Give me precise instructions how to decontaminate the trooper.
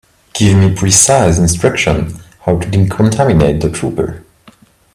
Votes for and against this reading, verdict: 1, 2, rejected